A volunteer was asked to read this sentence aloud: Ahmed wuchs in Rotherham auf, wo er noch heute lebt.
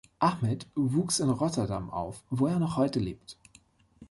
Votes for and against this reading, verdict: 0, 2, rejected